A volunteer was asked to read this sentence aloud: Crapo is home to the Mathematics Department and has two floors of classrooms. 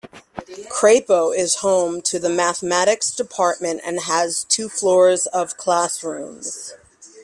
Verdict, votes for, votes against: accepted, 2, 0